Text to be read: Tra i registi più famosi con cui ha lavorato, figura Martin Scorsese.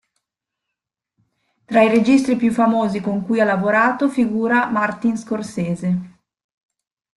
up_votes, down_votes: 2, 0